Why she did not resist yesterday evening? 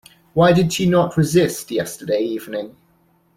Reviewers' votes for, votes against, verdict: 0, 2, rejected